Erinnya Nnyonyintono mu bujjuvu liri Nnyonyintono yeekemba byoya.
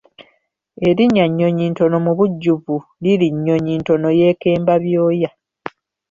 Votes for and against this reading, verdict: 2, 0, accepted